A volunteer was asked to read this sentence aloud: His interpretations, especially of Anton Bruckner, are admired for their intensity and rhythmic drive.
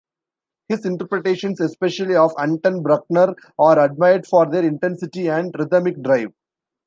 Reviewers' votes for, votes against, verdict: 0, 2, rejected